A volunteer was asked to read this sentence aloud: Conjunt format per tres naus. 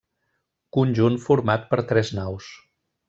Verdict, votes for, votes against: accepted, 3, 0